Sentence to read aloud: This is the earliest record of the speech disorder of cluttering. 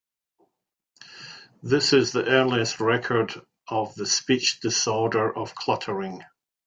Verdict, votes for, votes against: accepted, 2, 0